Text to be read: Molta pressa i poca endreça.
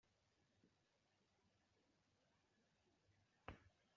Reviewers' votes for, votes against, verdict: 0, 2, rejected